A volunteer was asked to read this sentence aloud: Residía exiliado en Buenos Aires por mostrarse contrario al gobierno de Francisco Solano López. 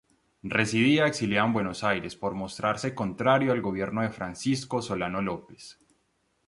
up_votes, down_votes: 0, 2